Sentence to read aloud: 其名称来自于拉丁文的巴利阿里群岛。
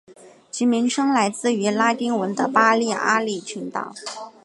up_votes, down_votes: 3, 1